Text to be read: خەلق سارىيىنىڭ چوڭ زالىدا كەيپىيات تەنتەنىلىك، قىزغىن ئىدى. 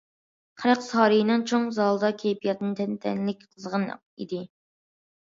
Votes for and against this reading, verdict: 0, 2, rejected